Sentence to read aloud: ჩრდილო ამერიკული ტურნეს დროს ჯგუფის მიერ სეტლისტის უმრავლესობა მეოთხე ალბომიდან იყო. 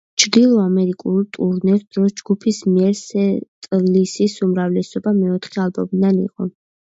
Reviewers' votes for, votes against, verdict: 1, 2, rejected